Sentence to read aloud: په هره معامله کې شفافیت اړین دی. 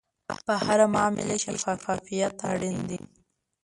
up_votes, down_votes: 1, 2